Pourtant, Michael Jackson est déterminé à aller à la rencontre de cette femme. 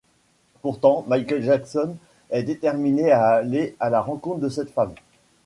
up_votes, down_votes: 2, 1